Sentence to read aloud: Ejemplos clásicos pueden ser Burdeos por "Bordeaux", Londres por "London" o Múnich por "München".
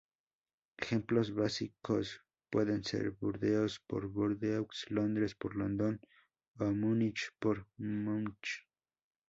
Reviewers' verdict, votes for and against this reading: rejected, 0, 2